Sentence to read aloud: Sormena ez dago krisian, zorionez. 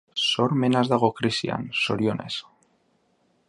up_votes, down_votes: 3, 0